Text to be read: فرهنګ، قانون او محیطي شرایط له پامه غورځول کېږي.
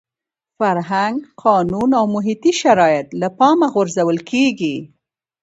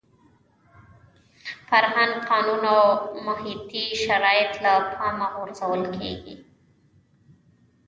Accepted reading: first